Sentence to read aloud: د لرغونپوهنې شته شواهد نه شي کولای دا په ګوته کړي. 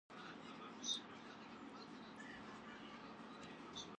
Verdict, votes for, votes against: rejected, 0, 2